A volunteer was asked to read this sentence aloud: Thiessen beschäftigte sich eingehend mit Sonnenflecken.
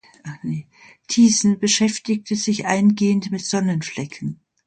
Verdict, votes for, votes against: rejected, 0, 2